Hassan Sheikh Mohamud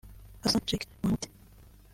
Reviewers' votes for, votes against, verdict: 0, 2, rejected